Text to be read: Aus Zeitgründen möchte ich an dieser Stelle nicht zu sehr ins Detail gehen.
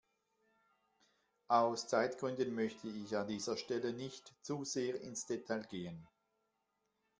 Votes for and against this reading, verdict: 2, 0, accepted